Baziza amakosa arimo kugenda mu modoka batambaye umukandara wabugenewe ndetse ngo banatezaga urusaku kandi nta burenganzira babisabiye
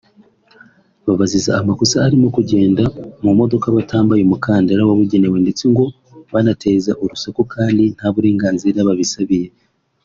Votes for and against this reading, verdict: 0, 2, rejected